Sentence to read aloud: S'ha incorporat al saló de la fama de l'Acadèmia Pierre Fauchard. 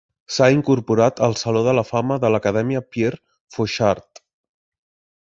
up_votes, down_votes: 2, 0